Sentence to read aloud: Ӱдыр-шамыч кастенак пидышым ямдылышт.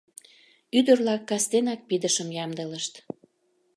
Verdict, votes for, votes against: rejected, 0, 2